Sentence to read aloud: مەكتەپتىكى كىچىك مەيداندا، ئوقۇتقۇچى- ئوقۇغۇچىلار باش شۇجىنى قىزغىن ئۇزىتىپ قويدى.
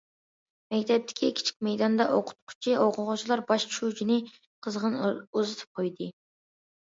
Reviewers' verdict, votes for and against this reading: accepted, 2, 0